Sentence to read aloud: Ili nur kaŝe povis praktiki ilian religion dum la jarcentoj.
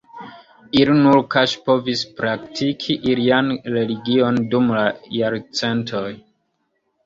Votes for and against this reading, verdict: 2, 1, accepted